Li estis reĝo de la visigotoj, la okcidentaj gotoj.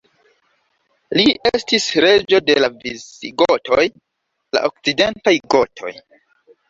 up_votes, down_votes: 1, 3